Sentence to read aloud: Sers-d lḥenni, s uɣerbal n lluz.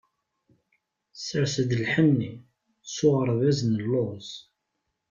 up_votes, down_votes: 0, 2